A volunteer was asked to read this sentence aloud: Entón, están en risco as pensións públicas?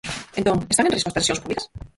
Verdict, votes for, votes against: rejected, 0, 4